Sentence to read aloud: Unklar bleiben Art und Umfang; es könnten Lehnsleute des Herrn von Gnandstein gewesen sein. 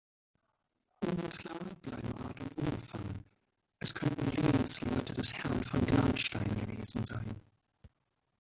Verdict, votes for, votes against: rejected, 0, 2